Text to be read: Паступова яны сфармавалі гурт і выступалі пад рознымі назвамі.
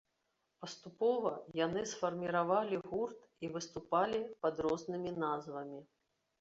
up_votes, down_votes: 1, 2